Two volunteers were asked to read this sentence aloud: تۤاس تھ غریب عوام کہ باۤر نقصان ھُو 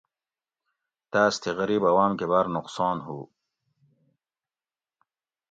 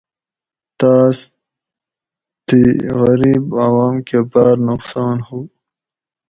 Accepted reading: first